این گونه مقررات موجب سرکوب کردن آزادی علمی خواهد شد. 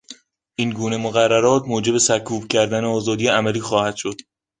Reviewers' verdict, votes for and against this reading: rejected, 0, 2